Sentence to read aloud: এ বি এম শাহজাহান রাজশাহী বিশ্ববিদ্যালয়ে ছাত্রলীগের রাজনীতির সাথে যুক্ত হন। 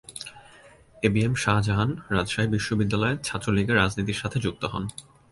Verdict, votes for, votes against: accepted, 3, 0